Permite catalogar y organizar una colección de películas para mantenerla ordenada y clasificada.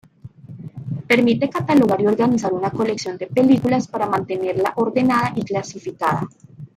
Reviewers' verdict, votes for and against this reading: accepted, 2, 1